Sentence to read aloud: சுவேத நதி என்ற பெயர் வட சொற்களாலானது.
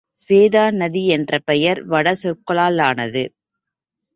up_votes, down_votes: 1, 2